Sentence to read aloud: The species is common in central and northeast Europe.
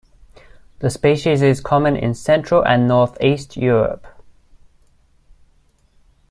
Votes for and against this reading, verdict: 2, 0, accepted